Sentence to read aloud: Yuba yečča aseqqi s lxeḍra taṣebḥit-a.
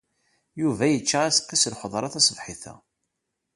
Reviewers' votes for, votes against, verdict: 2, 0, accepted